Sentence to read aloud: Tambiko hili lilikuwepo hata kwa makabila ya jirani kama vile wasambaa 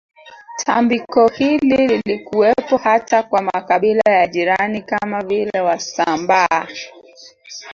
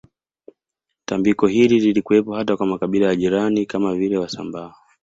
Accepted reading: second